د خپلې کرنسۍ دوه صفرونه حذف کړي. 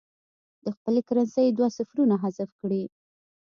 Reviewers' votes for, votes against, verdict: 2, 0, accepted